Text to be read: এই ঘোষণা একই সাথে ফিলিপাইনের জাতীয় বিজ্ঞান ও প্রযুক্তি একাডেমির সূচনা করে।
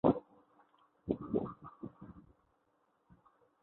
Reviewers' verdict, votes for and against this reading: rejected, 0, 2